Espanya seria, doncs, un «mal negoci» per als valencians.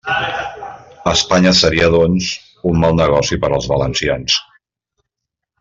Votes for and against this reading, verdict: 2, 1, accepted